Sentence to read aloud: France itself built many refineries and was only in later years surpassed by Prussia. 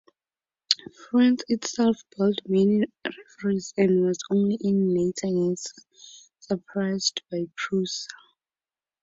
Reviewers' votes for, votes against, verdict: 0, 2, rejected